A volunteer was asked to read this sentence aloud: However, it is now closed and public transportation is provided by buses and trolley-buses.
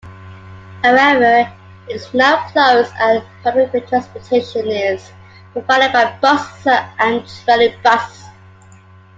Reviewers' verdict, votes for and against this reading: rejected, 0, 2